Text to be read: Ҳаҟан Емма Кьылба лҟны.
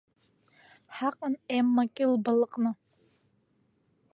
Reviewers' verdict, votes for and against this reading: accepted, 2, 0